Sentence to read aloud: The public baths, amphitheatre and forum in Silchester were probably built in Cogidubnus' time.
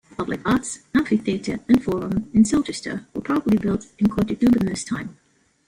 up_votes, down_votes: 0, 2